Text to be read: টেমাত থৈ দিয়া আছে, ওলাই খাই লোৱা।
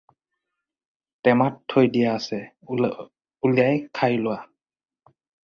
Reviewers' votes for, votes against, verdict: 2, 4, rejected